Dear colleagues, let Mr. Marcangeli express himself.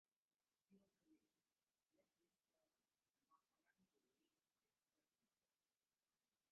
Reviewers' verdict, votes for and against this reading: rejected, 0, 2